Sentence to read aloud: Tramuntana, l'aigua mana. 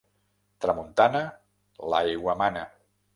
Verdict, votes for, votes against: accepted, 2, 0